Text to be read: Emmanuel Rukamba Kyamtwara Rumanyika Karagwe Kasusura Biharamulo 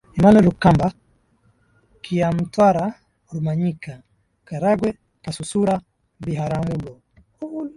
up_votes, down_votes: 0, 2